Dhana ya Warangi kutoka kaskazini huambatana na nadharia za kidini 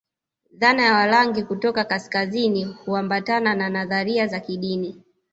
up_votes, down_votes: 1, 2